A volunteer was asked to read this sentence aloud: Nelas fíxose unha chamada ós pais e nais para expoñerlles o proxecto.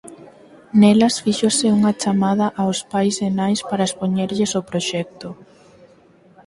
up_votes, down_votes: 4, 0